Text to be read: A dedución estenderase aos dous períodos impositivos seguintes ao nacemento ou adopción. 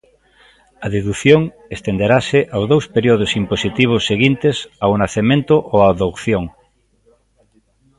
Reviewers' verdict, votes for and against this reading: rejected, 0, 2